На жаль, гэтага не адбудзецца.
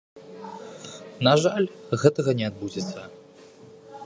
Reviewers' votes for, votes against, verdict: 2, 0, accepted